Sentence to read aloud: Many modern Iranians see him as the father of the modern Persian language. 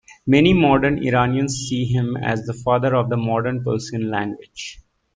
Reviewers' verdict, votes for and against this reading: accepted, 2, 0